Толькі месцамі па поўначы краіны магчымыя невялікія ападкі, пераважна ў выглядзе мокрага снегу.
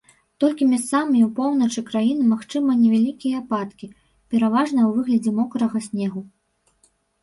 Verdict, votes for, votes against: rejected, 0, 2